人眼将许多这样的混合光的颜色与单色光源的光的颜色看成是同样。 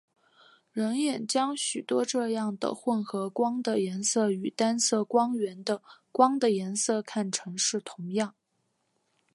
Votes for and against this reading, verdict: 2, 0, accepted